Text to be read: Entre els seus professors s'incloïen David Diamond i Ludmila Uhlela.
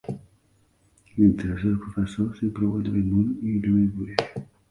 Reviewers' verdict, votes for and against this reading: rejected, 0, 2